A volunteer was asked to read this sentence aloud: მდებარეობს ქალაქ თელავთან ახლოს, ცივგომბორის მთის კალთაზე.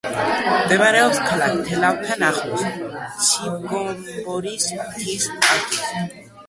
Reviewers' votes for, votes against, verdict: 1, 2, rejected